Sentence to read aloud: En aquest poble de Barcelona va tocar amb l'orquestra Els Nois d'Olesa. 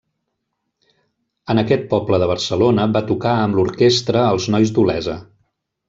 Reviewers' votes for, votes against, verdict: 3, 0, accepted